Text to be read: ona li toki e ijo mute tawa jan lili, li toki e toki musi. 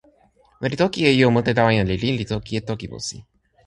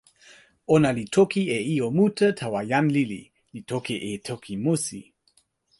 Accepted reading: second